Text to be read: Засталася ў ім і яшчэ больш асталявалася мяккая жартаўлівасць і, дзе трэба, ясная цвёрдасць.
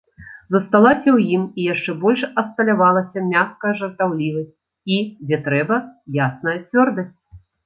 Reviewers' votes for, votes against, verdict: 1, 2, rejected